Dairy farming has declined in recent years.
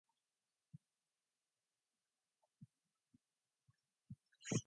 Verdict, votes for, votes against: rejected, 0, 2